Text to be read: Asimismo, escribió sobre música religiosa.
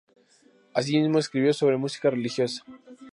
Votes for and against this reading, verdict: 2, 0, accepted